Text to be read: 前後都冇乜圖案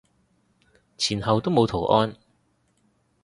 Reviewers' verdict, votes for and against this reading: rejected, 0, 3